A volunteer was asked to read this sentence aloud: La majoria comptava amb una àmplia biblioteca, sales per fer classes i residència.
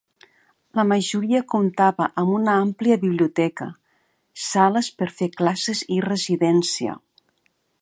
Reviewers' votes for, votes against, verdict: 2, 0, accepted